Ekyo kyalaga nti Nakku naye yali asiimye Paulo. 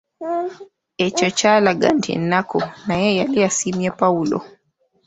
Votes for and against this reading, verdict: 0, 2, rejected